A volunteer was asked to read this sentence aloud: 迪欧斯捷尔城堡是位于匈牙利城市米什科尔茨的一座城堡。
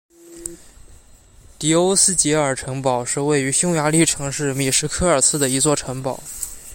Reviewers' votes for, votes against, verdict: 2, 0, accepted